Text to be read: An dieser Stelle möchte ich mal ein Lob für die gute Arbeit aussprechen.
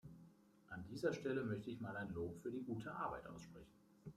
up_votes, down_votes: 1, 2